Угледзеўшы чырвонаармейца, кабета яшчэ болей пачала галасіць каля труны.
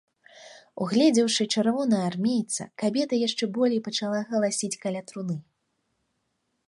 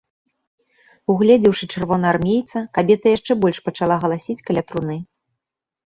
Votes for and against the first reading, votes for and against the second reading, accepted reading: 2, 0, 1, 2, first